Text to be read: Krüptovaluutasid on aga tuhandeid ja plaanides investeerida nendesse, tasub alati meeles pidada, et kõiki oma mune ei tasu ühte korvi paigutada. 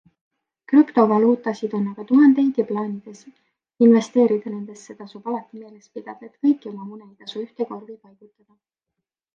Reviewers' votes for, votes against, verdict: 3, 1, accepted